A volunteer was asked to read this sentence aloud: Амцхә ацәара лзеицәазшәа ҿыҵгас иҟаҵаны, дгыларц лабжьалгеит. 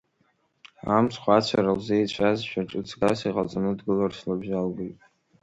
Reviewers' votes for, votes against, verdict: 2, 1, accepted